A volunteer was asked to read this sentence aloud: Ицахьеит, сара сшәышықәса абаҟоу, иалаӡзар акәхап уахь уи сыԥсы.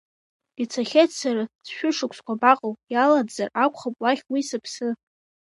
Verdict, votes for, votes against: rejected, 1, 2